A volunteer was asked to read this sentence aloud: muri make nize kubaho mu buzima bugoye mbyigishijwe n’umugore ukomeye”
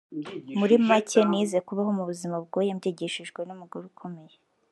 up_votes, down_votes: 0, 2